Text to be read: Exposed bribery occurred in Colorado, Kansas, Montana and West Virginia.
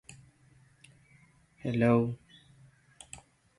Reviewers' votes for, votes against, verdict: 0, 2, rejected